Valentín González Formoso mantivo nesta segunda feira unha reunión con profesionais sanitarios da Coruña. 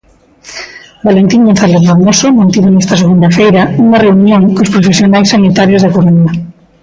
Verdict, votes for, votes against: rejected, 1, 2